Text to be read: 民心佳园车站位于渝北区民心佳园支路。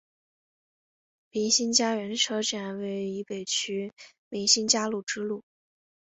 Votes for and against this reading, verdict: 2, 1, accepted